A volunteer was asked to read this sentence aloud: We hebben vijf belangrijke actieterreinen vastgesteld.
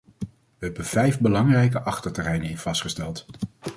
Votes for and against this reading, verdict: 0, 2, rejected